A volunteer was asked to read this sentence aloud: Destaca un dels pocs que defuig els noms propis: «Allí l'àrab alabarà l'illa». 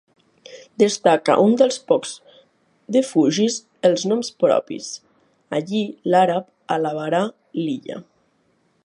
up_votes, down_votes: 1, 5